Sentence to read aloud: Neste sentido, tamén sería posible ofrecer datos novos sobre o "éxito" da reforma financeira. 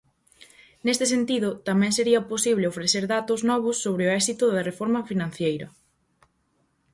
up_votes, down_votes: 2, 2